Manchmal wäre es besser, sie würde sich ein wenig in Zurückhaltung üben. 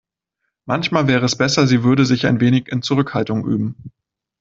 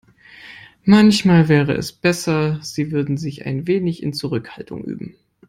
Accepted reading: first